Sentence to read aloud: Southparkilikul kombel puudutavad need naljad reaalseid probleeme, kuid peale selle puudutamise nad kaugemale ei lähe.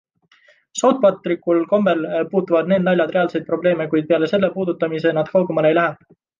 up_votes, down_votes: 1, 2